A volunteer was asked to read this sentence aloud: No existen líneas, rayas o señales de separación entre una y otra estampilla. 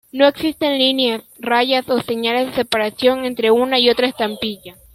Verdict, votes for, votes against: accepted, 2, 1